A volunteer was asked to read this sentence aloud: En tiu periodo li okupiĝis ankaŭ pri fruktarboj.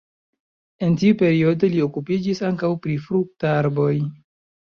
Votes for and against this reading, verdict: 2, 0, accepted